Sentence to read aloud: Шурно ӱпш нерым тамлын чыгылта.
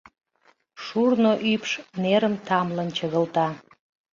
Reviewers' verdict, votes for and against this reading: accepted, 2, 0